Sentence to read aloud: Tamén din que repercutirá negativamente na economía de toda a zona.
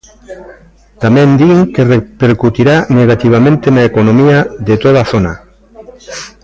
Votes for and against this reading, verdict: 0, 2, rejected